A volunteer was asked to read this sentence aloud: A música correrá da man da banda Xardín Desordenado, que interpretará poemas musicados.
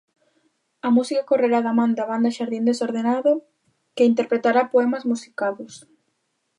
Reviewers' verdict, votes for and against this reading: accepted, 2, 0